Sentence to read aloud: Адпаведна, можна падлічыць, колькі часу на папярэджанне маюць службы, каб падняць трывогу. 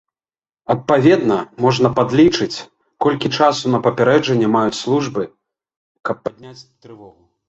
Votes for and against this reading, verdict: 1, 2, rejected